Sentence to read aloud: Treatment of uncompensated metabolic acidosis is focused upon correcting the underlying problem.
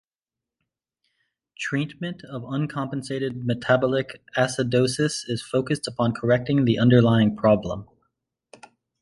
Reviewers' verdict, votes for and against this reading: accepted, 2, 0